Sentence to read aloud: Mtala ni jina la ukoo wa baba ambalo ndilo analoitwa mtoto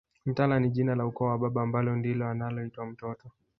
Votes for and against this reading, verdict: 0, 2, rejected